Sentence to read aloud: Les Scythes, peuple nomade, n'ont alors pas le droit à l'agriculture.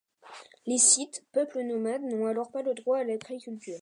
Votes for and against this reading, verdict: 2, 0, accepted